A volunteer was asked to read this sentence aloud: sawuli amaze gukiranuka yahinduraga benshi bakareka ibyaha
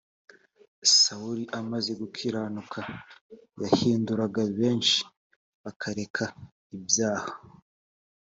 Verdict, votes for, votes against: accepted, 2, 0